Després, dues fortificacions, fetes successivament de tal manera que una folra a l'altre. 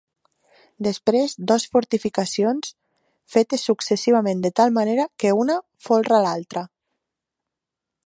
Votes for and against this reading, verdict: 1, 2, rejected